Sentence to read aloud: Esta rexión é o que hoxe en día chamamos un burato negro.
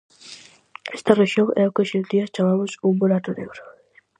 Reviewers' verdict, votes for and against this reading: accepted, 4, 0